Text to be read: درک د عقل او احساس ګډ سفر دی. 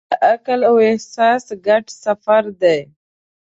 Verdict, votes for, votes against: rejected, 1, 2